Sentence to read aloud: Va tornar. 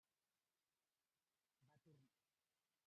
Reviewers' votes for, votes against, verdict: 1, 2, rejected